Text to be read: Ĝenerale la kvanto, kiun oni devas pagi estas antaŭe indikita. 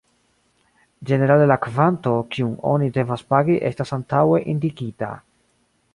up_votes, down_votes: 1, 2